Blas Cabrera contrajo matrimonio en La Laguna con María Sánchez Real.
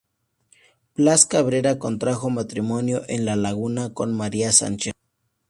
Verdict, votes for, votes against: rejected, 0, 2